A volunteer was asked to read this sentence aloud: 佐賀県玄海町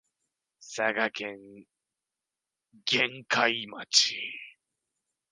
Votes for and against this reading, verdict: 2, 1, accepted